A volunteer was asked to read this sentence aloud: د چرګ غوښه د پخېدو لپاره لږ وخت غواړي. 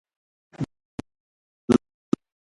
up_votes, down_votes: 0, 2